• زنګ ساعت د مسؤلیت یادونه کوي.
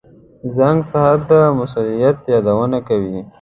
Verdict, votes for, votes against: accepted, 2, 1